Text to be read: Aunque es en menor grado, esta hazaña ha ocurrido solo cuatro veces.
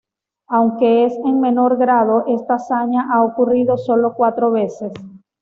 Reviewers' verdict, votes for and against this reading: accepted, 2, 0